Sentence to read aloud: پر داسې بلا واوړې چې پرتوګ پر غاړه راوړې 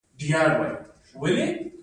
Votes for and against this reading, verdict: 0, 2, rejected